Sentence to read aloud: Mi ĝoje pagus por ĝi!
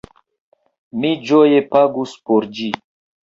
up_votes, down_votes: 2, 1